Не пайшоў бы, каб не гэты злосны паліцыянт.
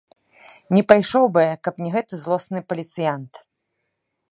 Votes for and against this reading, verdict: 0, 2, rejected